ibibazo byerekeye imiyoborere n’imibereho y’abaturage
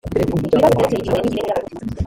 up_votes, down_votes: 1, 2